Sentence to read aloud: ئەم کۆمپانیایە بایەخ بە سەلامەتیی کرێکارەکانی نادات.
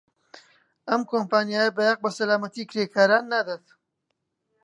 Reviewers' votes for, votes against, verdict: 1, 2, rejected